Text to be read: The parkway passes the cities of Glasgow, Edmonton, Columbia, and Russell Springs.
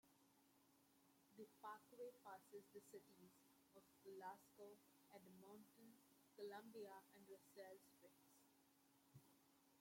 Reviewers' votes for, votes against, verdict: 0, 2, rejected